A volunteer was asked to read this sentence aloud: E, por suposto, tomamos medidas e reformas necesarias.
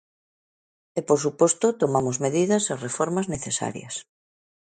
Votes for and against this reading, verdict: 2, 0, accepted